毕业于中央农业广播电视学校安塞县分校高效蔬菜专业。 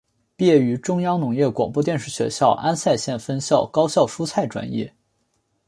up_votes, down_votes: 2, 0